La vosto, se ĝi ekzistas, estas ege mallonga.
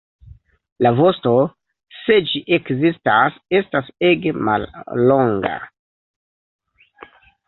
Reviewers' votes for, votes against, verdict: 0, 2, rejected